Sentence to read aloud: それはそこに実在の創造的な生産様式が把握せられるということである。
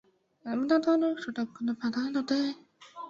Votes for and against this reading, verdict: 0, 2, rejected